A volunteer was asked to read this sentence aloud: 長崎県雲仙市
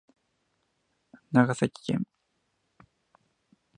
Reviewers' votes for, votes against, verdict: 0, 2, rejected